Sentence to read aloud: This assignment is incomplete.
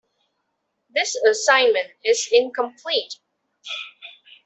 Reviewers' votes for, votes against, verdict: 2, 0, accepted